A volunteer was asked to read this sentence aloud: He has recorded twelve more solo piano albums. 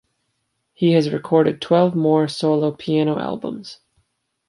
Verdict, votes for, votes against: accepted, 2, 0